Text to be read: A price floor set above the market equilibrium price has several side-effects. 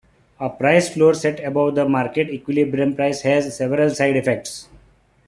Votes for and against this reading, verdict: 2, 1, accepted